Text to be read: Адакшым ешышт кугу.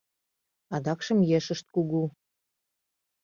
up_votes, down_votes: 2, 0